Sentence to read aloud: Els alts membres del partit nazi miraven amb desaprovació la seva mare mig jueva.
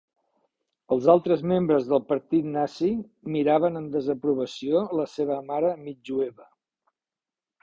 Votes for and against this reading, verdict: 1, 2, rejected